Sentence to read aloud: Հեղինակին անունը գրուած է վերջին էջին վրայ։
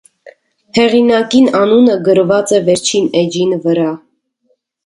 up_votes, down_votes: 2, 0